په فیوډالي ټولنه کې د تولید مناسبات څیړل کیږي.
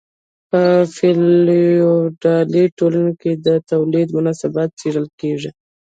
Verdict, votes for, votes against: rejected, 1, 2